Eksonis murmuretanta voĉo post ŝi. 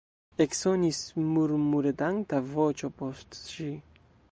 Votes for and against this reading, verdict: 0, 2, rejected